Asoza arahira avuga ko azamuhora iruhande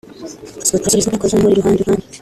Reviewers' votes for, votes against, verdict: 1, 2, rejected